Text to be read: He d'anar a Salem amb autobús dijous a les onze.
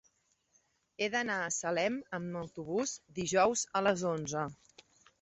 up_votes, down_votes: 3, 0